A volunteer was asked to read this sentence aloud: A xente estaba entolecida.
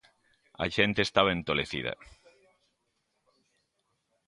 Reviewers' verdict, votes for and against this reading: accepted, 2, 0